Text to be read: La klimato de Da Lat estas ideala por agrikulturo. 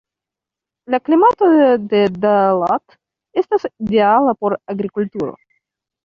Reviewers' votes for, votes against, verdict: 0, 2, rejected